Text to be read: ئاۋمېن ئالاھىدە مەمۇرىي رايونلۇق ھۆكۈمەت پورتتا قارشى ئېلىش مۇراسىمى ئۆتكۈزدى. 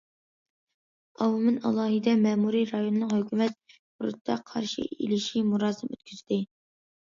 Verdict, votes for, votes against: rejected, 0, 2